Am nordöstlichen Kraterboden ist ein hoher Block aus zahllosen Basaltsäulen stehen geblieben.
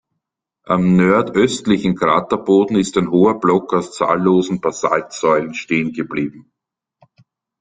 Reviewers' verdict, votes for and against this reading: rejected, 1, 2